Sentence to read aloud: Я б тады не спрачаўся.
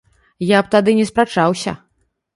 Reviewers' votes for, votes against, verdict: 2, 0, accepted